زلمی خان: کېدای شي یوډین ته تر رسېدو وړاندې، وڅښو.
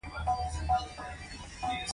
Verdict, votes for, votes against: rejected, 1, 2